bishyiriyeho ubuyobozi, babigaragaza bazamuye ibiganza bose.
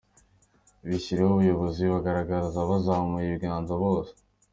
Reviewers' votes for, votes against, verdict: 2, 0, accepted